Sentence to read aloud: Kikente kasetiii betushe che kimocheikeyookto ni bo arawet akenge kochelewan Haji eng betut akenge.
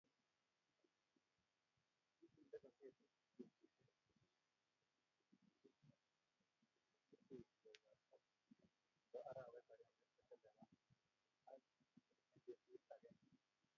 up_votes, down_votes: 0, 2